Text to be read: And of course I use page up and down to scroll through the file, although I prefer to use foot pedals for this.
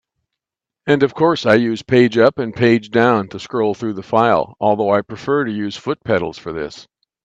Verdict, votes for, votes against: rejected, 0, 2